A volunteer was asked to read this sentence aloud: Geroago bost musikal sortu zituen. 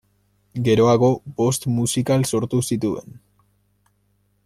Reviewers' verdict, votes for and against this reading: accepted, 2, 0